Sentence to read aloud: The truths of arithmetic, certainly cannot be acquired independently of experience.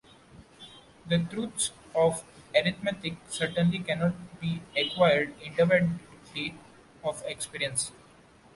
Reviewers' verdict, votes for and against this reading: accepted, 2, 1